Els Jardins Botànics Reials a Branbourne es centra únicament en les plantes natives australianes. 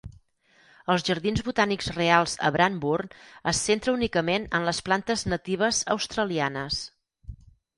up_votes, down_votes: 2, 4